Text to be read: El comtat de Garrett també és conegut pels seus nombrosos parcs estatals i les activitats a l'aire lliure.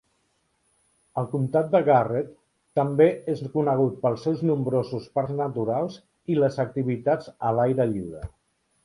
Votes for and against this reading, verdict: 1, 2, rejected